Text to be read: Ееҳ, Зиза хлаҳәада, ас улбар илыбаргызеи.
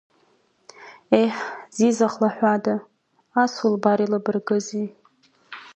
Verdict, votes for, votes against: accepted, 2, 0